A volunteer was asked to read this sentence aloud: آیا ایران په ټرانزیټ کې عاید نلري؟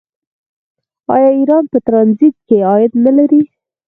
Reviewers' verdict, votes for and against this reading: rejected, 2, 4